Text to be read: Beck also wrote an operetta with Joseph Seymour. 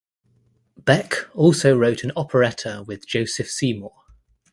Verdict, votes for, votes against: accepted, 2, 0